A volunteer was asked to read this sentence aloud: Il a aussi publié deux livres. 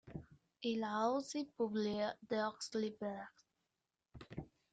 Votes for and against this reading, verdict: 0, 2, rejected